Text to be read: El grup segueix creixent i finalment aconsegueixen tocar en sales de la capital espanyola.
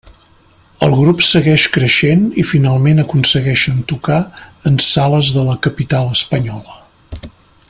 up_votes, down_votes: 3, 0